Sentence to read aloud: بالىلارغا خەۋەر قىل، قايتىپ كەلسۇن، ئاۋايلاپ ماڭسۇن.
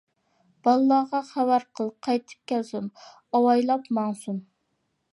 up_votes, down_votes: 2, 0